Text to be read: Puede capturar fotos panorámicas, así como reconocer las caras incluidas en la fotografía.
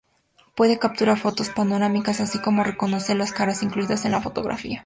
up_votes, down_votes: 2, 0